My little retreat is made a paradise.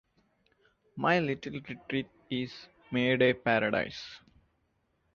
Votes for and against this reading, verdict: 2, 0, accepted